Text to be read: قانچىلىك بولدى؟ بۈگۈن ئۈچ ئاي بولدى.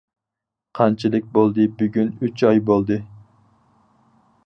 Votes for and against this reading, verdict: 4, 0, accepted